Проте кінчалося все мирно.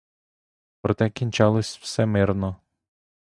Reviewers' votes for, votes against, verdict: 0, 2, rejected